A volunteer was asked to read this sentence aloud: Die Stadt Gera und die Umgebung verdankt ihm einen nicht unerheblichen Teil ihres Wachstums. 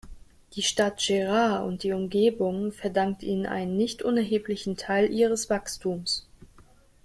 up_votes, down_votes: 0, 2